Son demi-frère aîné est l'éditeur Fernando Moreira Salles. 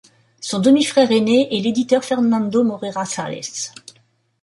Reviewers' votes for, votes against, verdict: 2, 0, accepted